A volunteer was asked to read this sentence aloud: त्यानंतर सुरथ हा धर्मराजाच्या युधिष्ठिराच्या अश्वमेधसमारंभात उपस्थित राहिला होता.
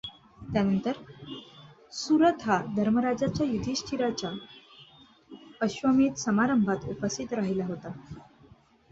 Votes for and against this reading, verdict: 2, 0, accepted